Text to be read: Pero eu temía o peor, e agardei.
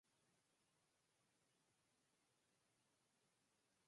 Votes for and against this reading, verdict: 0, 4, rejected